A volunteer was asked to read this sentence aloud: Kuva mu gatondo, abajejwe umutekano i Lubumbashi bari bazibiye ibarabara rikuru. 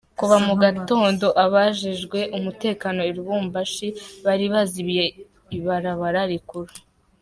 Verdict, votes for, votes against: accepted, 2, 1